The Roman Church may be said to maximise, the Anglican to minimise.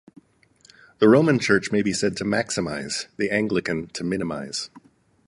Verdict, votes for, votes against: accepted, 4, 0